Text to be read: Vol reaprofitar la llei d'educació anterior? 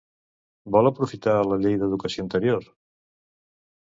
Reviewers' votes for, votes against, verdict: 0, 2, rejected